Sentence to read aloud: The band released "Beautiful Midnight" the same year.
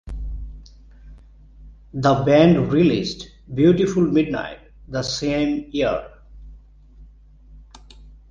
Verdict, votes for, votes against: accepted, 2, 0